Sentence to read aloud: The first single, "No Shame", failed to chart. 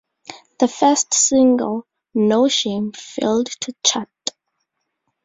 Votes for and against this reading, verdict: 2, 0, accepted